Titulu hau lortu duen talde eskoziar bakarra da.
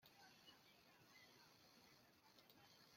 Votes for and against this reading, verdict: 0, 2, rejected